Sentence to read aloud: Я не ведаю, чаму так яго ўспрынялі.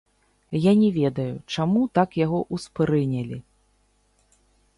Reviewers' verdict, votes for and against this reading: rejected, 0, 2